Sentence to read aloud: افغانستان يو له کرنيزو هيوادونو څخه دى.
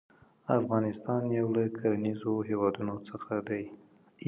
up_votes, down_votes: 2, 0